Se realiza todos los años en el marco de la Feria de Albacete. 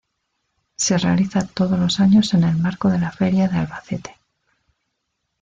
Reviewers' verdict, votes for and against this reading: rejected, 0, 2